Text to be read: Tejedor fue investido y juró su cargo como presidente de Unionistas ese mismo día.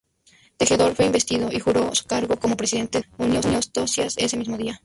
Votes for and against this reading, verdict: 0, 2, rejected